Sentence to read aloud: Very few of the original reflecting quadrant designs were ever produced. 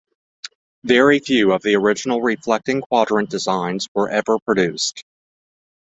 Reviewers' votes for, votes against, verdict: 2, 0, accepted